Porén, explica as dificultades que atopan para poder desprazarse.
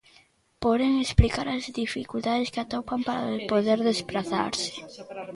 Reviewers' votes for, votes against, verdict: 1, 2, rejected